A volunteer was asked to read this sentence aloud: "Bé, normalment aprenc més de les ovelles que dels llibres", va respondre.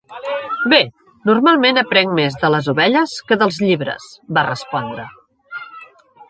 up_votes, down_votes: 1, 2